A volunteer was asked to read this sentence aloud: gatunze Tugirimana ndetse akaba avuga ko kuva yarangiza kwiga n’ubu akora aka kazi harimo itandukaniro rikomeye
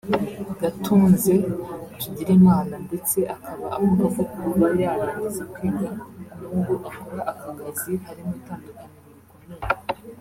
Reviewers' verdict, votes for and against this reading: rejected, 1, 2